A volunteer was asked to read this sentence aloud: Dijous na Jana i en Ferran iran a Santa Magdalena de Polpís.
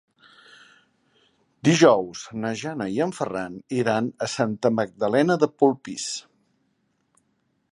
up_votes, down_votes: 4, 0